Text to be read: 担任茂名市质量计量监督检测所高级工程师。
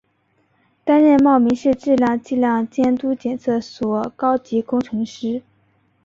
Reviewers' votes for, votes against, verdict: 2, 0, accepted